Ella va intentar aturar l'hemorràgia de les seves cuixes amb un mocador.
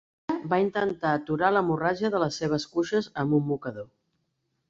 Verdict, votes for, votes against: rejected, 0, 2